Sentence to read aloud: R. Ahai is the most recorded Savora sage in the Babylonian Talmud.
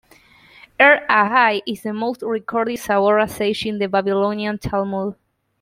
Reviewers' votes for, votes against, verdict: 2, 0, accepted